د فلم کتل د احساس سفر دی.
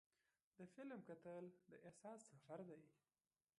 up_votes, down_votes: 2, 0